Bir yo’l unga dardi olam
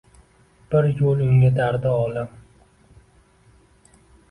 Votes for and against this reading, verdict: 2, 0, accepted